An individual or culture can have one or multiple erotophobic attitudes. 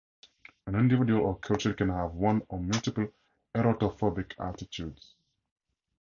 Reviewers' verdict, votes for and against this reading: accepted, 4, 0